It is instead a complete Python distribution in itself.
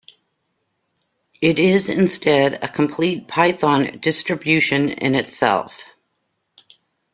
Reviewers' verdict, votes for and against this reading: accepted, 2, 0